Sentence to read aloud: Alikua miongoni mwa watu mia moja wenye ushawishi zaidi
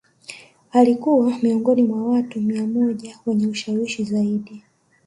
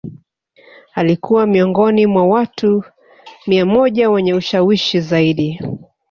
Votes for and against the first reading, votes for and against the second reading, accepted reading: 3, 1, 1, 2, first